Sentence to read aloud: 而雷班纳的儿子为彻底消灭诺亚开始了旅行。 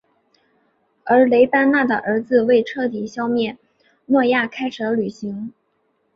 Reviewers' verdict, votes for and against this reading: accepted, 5, 0